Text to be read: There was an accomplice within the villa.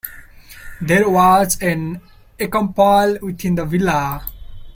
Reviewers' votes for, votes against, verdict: 0, 2, rejected